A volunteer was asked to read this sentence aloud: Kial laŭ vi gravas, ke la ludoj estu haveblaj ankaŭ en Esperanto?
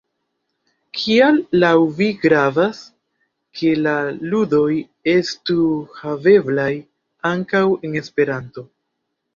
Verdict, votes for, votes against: rejected, 0, 2